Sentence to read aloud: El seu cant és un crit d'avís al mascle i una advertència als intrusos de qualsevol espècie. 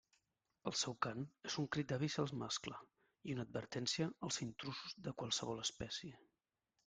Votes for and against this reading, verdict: 0, 2, rejected